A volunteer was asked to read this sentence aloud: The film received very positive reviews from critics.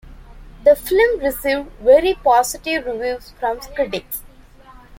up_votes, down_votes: 1, 3